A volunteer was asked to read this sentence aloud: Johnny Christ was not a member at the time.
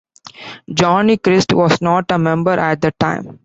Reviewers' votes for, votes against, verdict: 2, 0, accepted